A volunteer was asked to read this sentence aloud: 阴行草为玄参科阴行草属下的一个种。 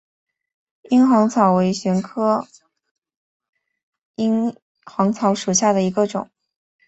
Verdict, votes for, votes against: accepted, 4, 1